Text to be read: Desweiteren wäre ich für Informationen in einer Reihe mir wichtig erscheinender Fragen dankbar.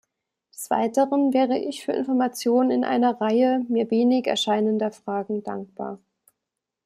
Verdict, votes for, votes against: rejected, 0, 2